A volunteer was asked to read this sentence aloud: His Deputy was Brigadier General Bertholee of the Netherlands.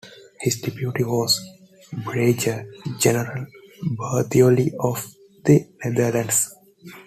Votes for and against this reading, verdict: 1, 2, rejected